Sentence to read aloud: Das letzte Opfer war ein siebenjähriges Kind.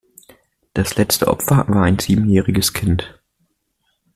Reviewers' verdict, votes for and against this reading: accepted, 2, 0